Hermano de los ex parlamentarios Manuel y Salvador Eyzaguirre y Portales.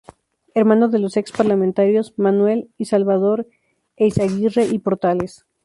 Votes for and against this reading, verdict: 2, 0, accepted